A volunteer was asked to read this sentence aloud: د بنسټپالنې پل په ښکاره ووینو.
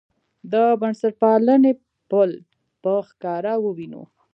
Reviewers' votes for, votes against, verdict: 2, 0, accepted